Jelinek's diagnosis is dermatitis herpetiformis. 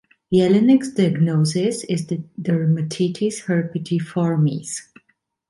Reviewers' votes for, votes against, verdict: 2, 0, accepted